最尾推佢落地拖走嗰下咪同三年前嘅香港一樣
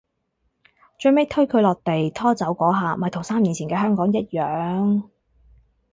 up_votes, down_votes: 2, 2